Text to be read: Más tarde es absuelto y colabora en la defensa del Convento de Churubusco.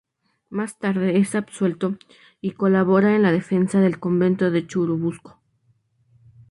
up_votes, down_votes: 2, 2